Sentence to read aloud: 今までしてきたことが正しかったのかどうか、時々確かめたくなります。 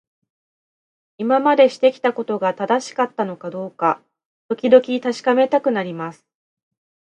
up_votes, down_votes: 2, 0